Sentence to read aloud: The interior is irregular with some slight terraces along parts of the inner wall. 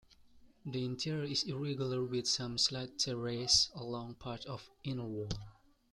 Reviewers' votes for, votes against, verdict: 0, 2, rejected